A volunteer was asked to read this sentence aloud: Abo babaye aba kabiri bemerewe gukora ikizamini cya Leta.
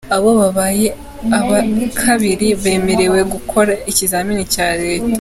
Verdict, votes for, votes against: accepted, 2, 0